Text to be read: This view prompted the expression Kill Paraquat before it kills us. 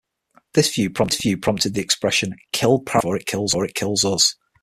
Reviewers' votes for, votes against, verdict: 0, 6, rejected